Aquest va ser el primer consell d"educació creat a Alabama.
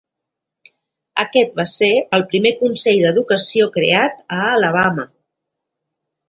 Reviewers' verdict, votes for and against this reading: accepted, 2, 0